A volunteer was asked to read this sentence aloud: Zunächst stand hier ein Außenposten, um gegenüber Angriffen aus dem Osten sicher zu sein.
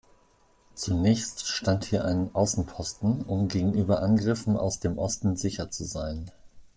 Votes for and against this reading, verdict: 2, 0, accepted